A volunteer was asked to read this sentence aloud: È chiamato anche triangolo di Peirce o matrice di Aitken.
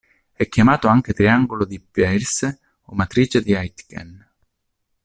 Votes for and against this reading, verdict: 2, 0, accepted